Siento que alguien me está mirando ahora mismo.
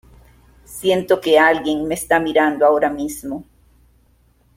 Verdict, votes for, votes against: accepted, 2, 0